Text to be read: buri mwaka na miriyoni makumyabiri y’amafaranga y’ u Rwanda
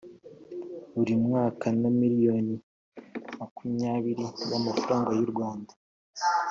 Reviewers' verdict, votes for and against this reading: accepted, 2, 0